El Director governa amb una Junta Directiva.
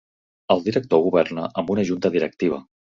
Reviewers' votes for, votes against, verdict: 3, 0, accepted